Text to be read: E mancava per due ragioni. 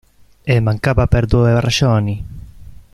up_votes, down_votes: 0, 2